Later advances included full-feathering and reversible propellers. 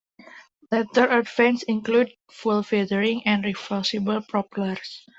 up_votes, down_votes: 1, 2